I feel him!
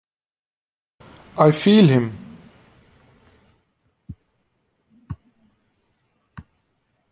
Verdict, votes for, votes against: accepted, 2, 0